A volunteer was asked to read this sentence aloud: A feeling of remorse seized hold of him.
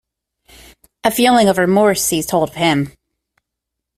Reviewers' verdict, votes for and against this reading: accepted, 2, 0